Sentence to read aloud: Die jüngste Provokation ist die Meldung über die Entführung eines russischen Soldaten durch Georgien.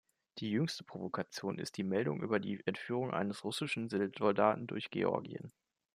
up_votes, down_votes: 0, 2